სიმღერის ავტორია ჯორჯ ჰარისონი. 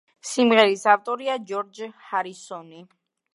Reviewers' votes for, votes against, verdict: 2, 0, accepted